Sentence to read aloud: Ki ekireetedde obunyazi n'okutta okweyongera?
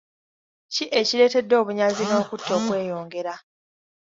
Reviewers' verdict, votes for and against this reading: accepted, 2, 0